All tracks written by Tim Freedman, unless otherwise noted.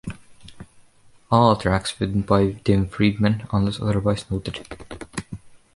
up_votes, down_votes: 2, 0